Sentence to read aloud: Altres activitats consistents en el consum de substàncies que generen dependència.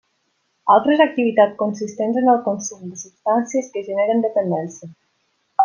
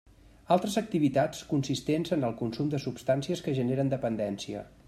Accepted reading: second